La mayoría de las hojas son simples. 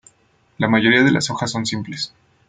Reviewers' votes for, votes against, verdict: 2, 0, accepted